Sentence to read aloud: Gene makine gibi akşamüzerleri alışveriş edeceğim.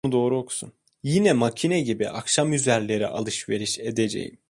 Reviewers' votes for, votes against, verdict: 0, 2, rejected